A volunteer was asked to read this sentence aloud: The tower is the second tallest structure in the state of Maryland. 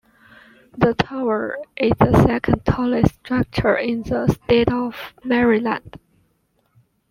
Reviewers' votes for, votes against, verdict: 2, 0, accepted